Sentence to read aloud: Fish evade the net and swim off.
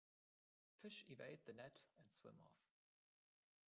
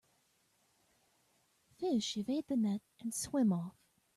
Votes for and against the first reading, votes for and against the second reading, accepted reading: 0, 2, 2, 0, second